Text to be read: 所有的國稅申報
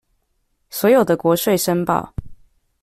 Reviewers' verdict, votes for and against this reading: accepted, 2, 0